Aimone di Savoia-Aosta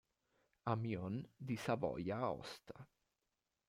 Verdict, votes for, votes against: rejected, 1, 2